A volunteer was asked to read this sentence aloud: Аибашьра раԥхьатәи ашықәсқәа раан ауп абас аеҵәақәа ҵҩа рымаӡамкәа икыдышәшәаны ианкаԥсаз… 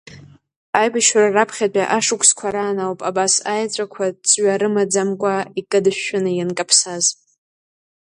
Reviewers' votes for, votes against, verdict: 3, 1, accepted